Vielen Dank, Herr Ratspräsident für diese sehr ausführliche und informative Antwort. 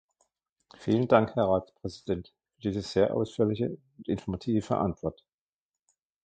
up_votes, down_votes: 1, 2